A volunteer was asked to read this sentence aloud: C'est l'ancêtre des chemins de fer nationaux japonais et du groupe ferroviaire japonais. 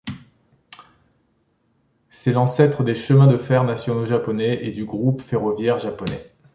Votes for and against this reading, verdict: 2, 0, accepted